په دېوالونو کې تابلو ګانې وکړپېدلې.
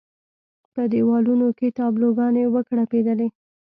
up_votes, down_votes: 2, 0